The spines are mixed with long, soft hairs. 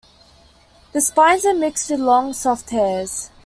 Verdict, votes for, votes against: accepted, 2, 0